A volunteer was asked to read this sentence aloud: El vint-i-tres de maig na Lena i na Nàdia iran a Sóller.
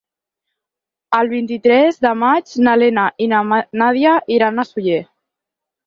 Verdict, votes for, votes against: rejected, 4, 6